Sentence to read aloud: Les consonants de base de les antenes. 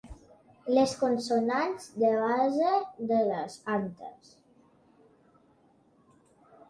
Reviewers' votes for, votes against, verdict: 1, 2, rejected